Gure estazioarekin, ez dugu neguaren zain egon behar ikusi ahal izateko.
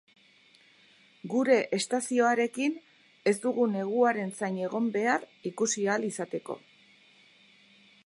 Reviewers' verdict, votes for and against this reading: accepted, 6, 0